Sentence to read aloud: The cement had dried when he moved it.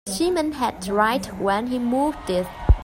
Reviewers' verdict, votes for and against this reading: rejected, 0, 2